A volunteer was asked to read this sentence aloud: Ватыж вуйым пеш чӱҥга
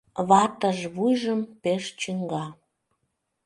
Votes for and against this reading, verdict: 0, 2, rejected